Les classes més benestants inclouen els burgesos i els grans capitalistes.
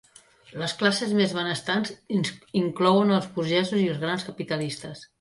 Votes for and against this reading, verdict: 1, 2, rejected